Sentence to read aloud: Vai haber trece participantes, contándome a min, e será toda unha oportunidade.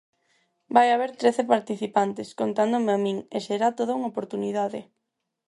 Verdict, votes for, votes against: accepted, 4, 0